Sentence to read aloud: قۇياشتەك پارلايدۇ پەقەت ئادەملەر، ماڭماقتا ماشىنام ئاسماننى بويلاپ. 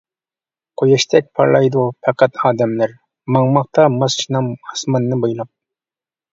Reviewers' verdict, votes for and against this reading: accepted, 2, 0